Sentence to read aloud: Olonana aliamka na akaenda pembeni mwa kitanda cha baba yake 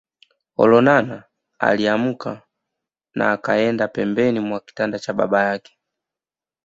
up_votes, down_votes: 1, 2